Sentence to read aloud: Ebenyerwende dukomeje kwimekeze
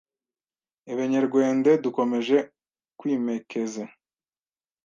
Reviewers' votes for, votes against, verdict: 1, 2, rejected